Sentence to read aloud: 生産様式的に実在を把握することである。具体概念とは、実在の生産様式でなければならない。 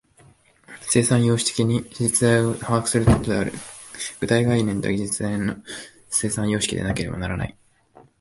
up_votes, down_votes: 7, 0